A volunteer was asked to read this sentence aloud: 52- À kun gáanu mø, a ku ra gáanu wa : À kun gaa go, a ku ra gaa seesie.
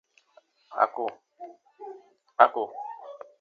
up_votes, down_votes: 0, 2